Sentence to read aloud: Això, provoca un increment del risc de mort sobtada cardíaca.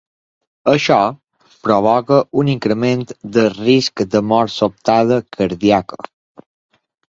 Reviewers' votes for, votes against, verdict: 2, 0, accepted